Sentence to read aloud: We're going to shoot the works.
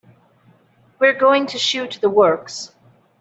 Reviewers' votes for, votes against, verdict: 2, 0, accepted